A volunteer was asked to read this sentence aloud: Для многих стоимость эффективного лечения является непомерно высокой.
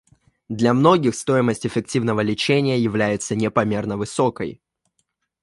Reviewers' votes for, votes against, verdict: 2, 1, accepted